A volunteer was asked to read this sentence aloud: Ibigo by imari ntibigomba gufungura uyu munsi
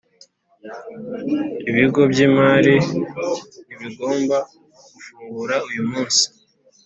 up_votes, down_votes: 2, 0